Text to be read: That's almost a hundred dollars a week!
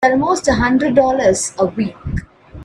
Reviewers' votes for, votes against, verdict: 0, 2, rejected